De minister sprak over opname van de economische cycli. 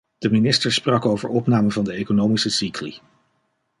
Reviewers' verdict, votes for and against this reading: accepted, 2, 0